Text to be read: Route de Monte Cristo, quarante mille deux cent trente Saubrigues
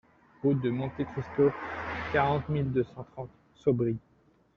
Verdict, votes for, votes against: rejected, 1, 2